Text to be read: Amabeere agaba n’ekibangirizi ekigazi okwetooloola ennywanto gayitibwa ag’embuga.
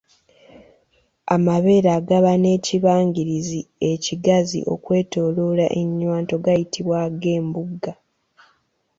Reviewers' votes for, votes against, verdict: 0, 2, rejected